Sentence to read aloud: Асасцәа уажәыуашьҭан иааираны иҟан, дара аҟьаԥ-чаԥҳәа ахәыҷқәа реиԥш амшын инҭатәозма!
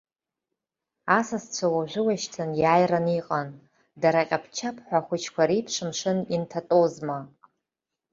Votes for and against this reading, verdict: 2, 0, accepted